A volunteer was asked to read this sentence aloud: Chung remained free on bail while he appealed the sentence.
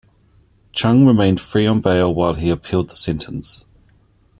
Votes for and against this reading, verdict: 2, 1, accepted